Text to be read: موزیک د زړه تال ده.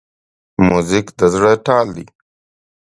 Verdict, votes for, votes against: accepted, 2, 0